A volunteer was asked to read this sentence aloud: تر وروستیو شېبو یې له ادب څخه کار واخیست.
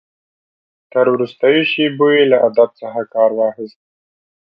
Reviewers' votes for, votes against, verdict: 2, 0, accepted